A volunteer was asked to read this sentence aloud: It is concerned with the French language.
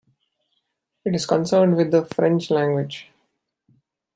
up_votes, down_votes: 2, 0